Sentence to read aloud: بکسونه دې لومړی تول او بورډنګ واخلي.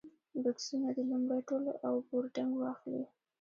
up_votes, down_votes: 2, 0